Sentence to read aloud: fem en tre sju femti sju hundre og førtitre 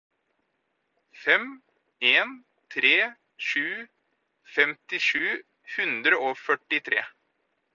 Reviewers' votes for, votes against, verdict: 4, 0, accepted